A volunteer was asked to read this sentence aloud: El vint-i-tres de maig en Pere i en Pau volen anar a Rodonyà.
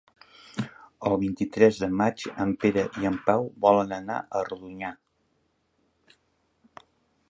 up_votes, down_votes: 2, 0